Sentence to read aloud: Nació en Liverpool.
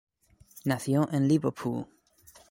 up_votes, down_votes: 1, 2